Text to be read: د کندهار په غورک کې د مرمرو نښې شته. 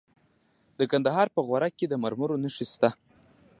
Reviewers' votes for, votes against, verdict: 2, 0, accepted